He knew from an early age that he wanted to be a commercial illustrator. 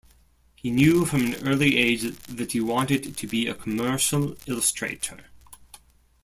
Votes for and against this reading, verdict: 0, 2, rejected